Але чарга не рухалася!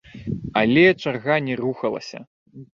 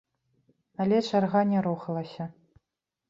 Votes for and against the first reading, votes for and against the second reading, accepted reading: 1, 2, 2, 0, second